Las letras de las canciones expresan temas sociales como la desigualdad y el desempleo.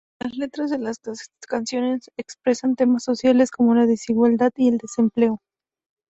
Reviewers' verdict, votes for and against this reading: rejected, 0, 2